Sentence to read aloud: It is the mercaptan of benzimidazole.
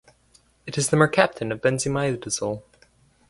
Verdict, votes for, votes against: accepted, 4, 0